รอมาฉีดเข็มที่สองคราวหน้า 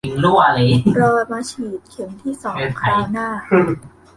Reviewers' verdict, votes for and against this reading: rejected, 0, 2